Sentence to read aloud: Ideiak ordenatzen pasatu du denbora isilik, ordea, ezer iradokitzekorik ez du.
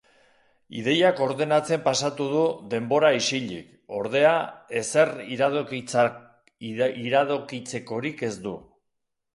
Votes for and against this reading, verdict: 1, 2, rejected